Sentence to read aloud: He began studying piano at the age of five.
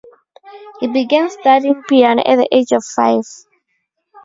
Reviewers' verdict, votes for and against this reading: rejected, 0, 2